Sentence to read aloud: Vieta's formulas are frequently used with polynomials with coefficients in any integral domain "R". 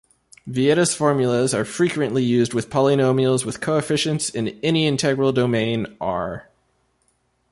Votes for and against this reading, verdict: 2, 0, accepted